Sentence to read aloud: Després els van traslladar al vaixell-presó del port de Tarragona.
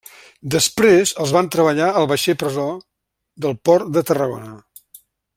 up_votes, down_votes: 1, 2